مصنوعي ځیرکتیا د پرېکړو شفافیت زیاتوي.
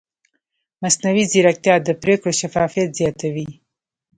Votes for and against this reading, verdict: 0, 2, rejected